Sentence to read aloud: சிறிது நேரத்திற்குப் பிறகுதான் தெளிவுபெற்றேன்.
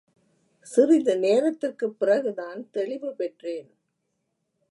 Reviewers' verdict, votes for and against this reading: accepted, 2, 0